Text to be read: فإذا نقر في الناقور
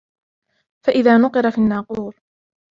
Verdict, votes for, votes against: accepted, 2, 1